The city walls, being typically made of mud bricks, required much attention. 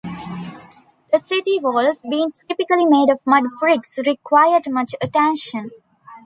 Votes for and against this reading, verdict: 2, 1, accepted